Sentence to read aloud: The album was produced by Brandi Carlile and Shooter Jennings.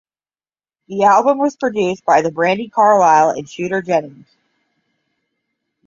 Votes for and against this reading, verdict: 0, 5, rejected